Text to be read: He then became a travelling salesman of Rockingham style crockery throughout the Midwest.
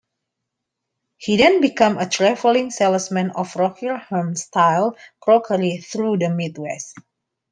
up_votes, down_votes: 0, 2